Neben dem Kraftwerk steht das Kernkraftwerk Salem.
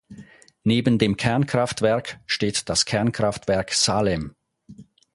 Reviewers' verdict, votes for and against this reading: rejected, 0, 4